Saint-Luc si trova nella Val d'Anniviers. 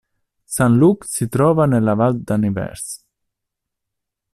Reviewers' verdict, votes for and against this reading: rejected, 1, 2